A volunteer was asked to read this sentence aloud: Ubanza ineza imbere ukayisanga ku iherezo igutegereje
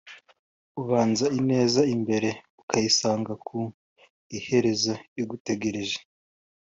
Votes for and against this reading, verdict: 2, 0, accepted